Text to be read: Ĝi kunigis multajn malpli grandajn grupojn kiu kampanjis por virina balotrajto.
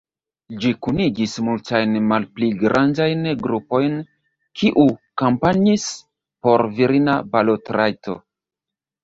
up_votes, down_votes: 1, 2